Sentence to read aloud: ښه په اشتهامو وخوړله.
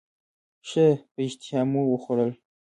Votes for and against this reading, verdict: 0, 2, rejected